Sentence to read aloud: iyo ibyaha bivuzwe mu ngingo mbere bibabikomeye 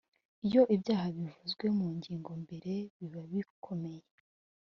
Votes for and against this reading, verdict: 2, 0, accepted